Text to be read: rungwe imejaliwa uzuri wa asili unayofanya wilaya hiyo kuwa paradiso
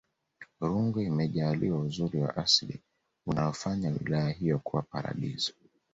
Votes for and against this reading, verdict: 2, 0, accepted